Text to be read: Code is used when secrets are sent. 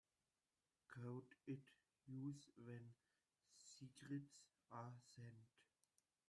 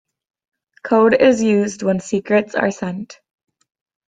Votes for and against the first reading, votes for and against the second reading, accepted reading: 0, 2, 2, 0, second